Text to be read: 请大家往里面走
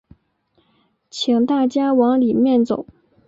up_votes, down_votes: 4, 0